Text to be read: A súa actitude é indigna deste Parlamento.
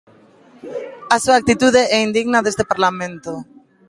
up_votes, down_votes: 3, 0